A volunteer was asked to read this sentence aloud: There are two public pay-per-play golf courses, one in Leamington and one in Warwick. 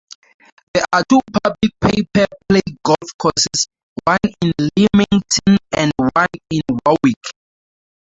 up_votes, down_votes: 0, 4